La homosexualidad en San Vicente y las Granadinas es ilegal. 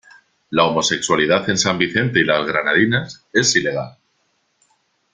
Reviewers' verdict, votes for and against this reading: accepted, 2, 0